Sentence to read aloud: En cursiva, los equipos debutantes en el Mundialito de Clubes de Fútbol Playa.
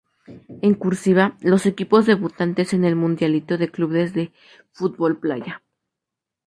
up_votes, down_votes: 2, 0